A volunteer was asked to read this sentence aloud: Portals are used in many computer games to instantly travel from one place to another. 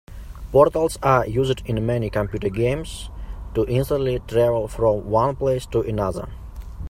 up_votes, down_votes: 4, 0